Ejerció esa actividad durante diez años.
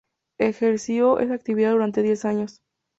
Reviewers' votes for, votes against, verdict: 2, 0, accepted